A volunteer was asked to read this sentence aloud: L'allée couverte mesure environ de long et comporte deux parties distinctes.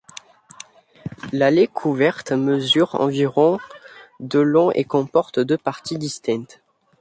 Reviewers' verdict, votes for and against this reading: accepted, 2, 0